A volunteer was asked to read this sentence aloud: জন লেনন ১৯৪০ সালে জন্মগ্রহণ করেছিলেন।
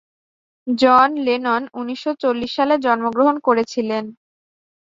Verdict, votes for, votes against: rejected, 0, 2